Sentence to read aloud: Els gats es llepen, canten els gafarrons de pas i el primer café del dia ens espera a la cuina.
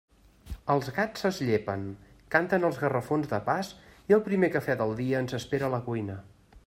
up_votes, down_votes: 2, 1